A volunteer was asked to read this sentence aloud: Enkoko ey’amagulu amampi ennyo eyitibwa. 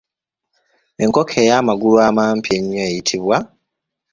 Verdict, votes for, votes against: accepted, 3, 0